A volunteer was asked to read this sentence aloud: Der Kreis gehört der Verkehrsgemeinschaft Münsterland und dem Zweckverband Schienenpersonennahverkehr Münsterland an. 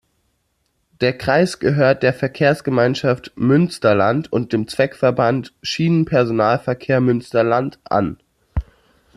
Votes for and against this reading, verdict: 1, 2, rejected